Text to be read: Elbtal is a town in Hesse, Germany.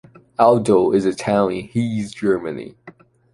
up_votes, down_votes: 1, 2